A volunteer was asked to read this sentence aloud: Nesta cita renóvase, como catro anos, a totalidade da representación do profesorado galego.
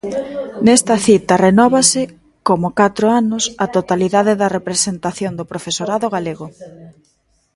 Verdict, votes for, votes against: rejected, 0, 2